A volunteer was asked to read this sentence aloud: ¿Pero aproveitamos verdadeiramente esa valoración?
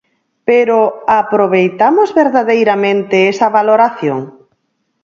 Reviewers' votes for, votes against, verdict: 24, 0, accepted